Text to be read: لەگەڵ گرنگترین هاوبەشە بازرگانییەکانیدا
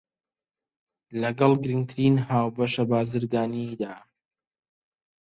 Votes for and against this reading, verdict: 0, 2, rejected